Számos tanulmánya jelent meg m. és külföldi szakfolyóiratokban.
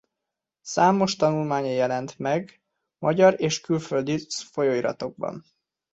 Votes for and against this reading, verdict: 0, 2, rejected